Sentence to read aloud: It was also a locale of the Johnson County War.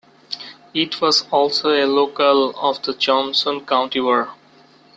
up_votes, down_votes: 2, 0